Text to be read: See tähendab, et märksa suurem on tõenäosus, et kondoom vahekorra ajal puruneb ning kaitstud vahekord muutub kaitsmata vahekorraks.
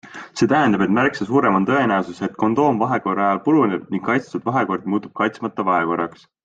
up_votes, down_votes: 2, 0